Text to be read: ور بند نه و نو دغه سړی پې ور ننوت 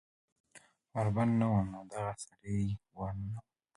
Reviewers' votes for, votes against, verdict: 2, 0, accepted